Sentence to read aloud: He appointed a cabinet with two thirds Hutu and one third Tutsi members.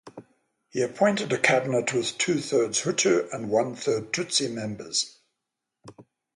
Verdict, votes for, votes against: rejected, 0, 3